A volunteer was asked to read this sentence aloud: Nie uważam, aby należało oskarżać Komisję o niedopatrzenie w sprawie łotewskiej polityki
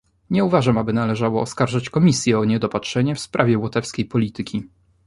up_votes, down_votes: 2, 0